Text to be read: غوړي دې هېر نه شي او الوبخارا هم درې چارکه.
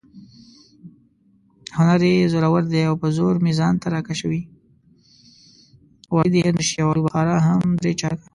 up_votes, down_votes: 0, 2